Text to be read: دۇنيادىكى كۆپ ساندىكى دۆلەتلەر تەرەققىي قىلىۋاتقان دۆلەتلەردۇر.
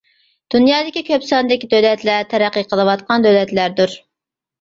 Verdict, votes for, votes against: accepted, 2, 0